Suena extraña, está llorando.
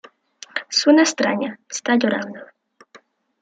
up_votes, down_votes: 2, 0